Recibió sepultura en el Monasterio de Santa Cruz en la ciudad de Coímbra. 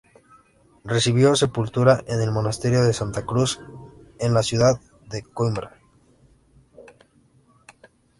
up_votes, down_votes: 2, 0